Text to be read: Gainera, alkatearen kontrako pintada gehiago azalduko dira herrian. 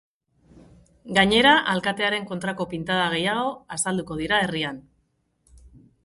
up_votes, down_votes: 4, 0